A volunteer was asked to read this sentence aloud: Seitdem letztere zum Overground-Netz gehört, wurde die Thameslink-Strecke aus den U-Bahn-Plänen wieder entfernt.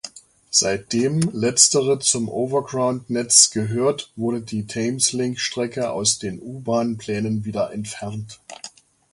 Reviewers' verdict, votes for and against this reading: accepted, 2, 1